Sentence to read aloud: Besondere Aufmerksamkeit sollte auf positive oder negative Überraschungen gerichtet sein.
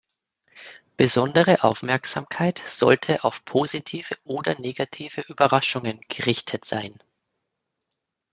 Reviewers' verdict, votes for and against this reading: accepted, 2, 0